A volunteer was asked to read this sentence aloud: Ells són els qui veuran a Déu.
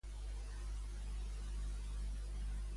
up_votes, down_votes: 0, 2